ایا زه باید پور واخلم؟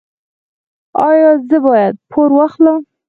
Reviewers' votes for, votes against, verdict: 0, 4, rejected